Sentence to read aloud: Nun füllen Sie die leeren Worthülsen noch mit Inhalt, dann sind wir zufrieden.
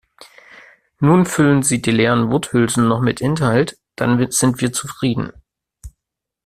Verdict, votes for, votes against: rejected, 0, 2